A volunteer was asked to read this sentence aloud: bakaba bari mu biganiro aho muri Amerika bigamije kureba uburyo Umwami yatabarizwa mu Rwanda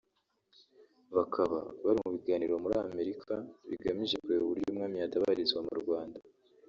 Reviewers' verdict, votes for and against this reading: rejected, 1, 2